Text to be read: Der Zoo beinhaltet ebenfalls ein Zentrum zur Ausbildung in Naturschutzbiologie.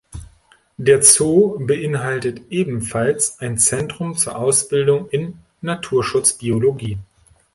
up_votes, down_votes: 2, 0